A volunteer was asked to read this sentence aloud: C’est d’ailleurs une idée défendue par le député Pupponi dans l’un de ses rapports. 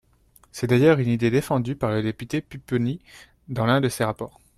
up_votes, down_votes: 0, 2